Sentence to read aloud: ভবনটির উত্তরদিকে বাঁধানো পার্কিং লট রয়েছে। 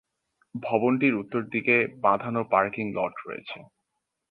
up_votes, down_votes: 12, 3